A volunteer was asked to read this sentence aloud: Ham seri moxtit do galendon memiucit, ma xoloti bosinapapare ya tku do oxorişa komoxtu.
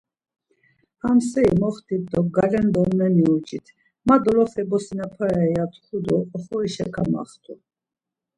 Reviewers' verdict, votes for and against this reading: rejected, 1, 2